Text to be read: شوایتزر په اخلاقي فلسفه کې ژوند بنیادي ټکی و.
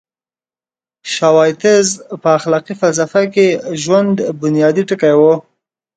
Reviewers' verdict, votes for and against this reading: accepted, 2, 0